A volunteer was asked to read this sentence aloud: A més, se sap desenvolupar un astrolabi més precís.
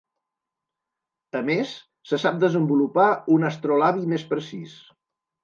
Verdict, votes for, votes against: accepted, 3, 0